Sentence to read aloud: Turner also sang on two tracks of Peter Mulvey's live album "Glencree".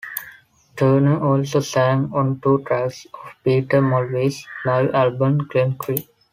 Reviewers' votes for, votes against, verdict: 2, 0, accepted